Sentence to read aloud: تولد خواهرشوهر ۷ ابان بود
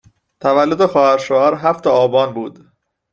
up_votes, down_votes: 0, 2